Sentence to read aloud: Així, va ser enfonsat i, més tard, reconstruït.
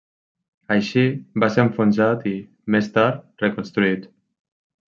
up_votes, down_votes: 3, 0